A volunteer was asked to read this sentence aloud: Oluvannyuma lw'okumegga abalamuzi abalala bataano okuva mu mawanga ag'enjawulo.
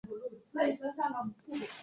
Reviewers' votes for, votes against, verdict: 0, 2, rejected